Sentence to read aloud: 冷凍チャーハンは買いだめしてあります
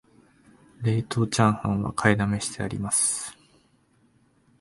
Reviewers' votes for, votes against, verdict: 1, 2, rejected